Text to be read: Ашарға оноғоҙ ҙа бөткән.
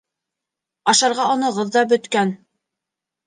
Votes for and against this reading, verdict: 2, 0, accepted